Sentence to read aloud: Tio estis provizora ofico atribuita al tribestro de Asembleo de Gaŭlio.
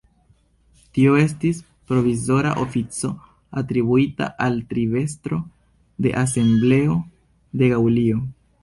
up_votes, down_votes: 2, 0